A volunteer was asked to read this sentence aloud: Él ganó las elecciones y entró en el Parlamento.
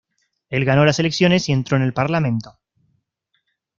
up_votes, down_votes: 2, 0